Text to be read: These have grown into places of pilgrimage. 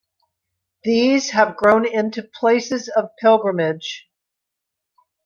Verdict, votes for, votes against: accepted, 2, 0